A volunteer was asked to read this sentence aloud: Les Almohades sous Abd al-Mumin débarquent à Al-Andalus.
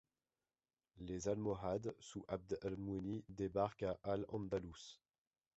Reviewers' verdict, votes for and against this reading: rejected, 1, 2